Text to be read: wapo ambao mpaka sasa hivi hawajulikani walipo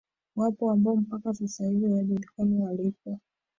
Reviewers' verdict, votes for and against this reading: rejected, 0, 2